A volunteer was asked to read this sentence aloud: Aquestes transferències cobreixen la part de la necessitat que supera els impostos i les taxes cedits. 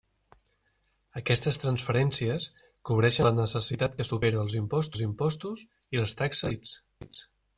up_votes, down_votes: 0, 2